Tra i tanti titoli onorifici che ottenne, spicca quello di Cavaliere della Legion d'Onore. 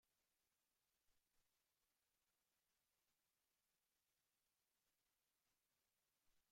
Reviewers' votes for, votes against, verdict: 0, 2, rejected